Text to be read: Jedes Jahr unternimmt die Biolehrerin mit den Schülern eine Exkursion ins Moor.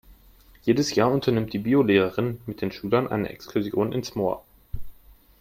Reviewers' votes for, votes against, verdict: 3, 0, accepted